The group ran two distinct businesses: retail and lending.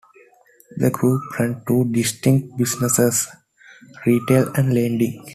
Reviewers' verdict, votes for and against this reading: accepted, 2, 0